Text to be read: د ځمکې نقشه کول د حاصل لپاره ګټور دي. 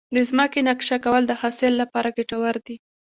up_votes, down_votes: 1, 2